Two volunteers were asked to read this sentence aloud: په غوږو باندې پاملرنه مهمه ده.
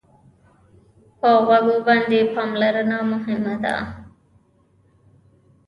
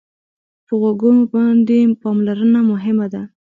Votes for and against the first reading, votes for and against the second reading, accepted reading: 1, 2, 2, 0, second